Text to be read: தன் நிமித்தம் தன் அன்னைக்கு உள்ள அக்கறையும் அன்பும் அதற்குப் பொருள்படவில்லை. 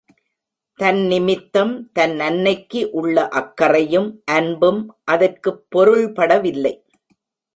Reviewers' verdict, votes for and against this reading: accepted, 2, 0